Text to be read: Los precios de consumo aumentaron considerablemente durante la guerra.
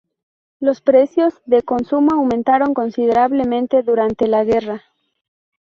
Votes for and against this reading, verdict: 2, 0, accepted